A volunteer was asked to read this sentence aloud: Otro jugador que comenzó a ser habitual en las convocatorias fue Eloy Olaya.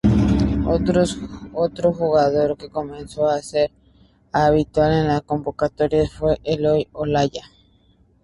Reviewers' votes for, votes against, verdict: 0, 2, rejected